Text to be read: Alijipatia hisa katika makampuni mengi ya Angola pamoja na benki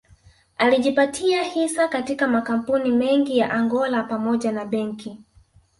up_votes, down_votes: 1, 2